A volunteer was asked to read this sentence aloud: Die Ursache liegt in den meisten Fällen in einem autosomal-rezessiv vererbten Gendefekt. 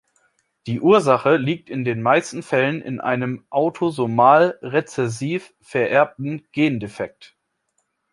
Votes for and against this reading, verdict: 2, 0, accepted